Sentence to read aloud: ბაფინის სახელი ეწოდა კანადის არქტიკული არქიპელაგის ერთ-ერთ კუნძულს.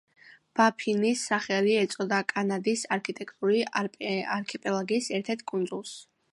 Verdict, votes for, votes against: rejected, 0, 2